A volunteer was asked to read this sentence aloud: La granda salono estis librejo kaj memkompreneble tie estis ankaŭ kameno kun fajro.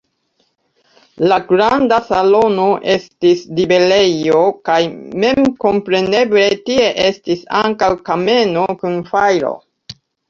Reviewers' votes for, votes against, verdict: 0, 2, rejected